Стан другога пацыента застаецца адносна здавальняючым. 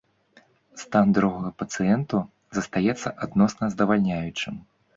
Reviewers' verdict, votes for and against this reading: rejected, 0, 3